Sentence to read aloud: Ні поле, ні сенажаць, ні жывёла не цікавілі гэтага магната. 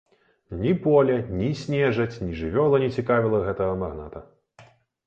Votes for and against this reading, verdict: 1, 2, rejected